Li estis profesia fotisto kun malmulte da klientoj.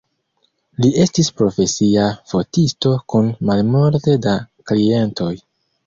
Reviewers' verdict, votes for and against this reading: rejected, 0, 2